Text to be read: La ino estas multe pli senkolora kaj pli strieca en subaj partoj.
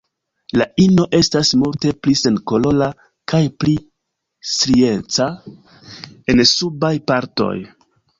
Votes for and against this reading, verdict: 1, 2, rejected